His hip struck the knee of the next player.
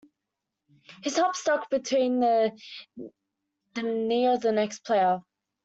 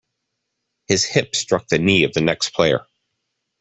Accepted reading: second